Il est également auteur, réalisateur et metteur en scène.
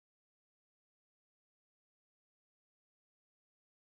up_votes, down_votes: 0, 2